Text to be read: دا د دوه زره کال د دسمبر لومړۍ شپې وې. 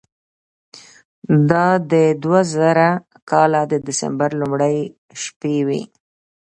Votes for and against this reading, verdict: 2, 0, accepted